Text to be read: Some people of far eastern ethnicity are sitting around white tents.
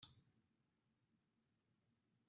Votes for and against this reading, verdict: 0, 3, rejected